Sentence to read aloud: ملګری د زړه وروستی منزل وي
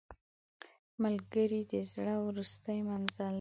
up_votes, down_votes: 0, 2